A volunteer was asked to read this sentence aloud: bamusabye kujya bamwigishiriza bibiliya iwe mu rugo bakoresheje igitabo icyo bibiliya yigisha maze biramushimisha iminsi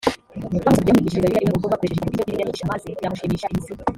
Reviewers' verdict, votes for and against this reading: rejected, 0, 2